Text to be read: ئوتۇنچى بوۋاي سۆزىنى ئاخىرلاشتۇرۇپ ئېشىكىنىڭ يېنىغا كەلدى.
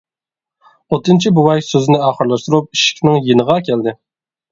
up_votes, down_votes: 1, 2